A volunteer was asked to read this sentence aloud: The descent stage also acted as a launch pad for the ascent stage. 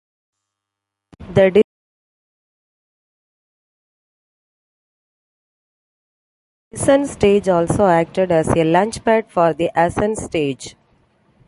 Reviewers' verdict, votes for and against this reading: rejected, 0, 2